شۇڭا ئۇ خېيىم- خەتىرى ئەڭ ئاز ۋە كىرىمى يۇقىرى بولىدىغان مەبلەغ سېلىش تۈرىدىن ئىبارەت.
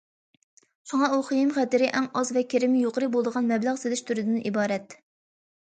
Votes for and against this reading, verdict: 2, 0, accepted